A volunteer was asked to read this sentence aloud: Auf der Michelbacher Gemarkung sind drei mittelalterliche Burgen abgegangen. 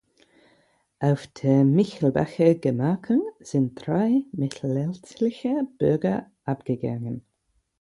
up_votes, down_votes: 0, 4